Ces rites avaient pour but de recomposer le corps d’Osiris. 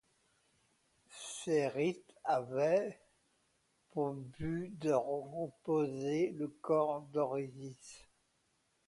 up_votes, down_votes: 0, 2